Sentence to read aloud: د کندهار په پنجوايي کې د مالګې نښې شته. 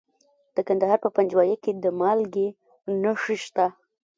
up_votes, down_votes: 1, 2